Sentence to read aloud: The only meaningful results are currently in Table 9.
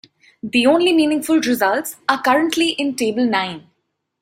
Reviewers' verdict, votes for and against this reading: rejected, 0, 2